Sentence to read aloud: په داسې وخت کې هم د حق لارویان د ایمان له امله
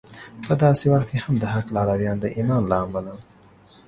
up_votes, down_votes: 2, 0